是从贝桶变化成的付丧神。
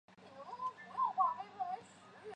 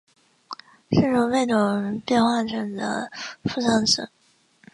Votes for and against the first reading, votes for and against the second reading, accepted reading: 1, 3, 3, 2, second